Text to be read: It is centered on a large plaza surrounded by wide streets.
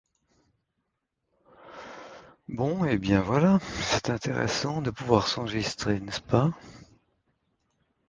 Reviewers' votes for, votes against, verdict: 0, 2, rejected